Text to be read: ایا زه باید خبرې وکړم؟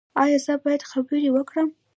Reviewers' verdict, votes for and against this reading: rejected, 0, 2